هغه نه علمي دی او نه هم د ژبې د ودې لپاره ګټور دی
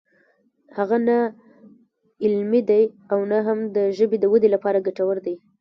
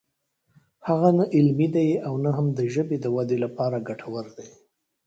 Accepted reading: second